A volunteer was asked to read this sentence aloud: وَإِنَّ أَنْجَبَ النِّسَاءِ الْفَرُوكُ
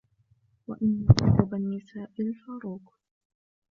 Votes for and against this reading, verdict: 1, 2, rejected